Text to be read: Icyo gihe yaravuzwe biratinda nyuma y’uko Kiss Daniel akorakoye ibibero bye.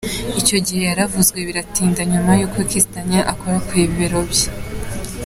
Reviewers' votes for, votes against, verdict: 2, 1, accepted